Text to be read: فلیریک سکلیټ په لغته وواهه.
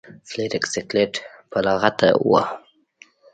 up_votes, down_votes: 1, 2